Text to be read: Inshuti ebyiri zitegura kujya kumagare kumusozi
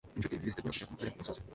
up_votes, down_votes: 0, 2